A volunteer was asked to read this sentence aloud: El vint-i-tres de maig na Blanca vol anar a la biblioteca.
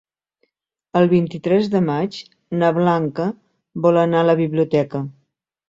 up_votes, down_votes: 3, 0